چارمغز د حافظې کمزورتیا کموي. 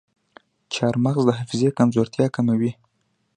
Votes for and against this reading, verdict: 2, 0, accepted